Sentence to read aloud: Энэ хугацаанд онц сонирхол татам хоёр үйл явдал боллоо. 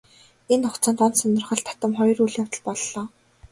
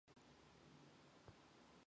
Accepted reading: first